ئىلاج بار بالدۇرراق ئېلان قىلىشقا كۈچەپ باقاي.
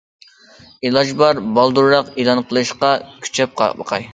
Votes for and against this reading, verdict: 1, 2, rejected